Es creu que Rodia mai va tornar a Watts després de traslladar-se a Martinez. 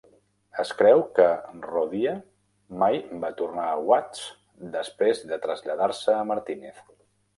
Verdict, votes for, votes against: rejected, 0, 2